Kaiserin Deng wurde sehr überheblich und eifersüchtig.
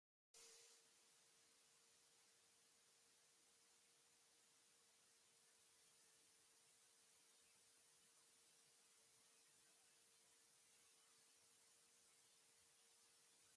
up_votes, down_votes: 0, 4